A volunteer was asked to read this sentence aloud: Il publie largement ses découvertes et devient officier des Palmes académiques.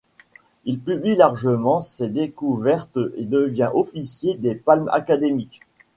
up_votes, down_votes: 2, 0